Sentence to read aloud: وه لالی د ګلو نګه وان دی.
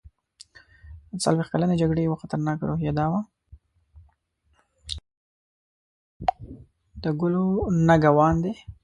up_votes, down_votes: 1, 2